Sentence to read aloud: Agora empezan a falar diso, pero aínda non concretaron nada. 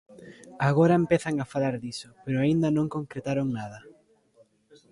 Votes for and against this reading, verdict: 2, 0, accepted